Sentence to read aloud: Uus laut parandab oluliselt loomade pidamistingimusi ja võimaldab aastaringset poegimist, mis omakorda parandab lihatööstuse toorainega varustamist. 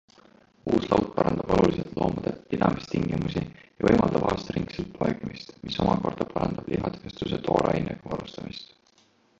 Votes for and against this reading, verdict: 2, 1, accepted